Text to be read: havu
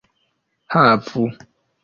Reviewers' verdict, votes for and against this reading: accepted, 3, 1